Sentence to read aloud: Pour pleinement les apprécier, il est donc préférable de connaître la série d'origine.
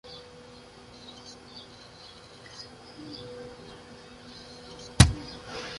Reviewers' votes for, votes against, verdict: 0, 2, rejected